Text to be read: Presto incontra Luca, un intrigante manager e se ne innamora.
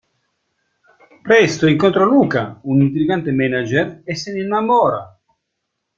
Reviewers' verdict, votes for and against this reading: rejected, 1, 2